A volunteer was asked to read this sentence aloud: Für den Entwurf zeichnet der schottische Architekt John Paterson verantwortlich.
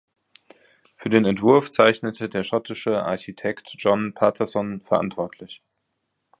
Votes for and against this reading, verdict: 2, 2, rejected